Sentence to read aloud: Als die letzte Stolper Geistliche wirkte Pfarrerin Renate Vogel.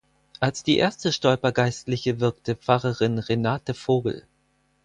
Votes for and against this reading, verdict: 0, 4, rejected